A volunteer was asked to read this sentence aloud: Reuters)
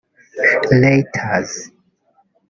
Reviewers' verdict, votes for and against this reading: rejected, 1, 2